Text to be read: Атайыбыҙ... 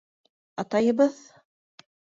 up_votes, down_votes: 2, 0